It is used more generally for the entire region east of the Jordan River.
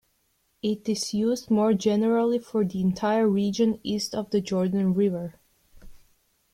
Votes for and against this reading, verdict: 2, 0, accepted